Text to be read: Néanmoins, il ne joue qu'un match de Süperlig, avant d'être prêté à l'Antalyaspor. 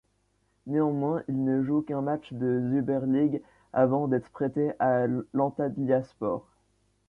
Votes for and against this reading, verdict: 0, 2, rejected